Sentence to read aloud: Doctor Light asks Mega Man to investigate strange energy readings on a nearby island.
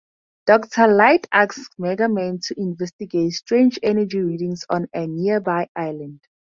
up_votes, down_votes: 2, 2